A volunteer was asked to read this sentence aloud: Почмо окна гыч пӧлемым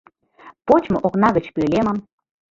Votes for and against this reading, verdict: 0, 2, rejected